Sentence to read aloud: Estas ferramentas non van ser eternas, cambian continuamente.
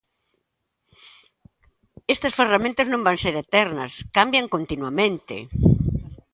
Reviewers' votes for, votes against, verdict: 2, 0, accepted